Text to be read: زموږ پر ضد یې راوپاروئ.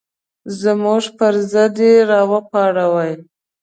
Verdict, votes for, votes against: rejected, 0, 2